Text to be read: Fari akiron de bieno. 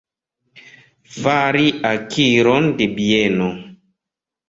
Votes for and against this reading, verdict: 2, 0, accepted